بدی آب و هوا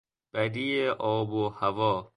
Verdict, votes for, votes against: accepted, 2, 0